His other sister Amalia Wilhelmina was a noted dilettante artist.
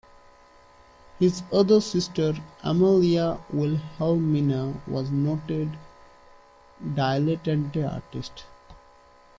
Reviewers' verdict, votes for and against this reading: rejected, 1, 2